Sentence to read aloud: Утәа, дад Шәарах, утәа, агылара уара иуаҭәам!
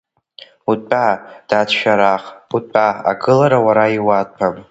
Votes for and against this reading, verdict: 2, 1, accepted